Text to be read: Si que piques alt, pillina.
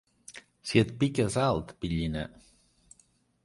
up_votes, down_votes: 0, 2